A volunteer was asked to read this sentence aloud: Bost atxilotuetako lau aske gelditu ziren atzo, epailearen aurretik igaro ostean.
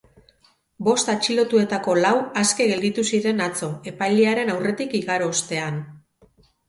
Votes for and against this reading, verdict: 4, 0, accepted